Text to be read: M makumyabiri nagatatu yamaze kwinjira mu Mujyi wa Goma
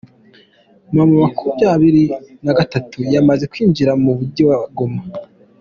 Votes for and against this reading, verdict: 2, 1, accepted